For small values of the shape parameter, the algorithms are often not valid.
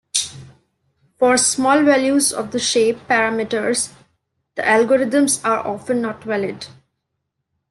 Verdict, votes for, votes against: rejected, 0, 2